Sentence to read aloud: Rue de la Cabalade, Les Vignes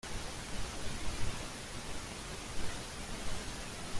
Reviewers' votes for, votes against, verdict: 0, 2, rejected